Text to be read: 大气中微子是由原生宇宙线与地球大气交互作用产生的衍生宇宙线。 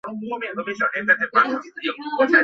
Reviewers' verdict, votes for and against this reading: rejected, 0, 2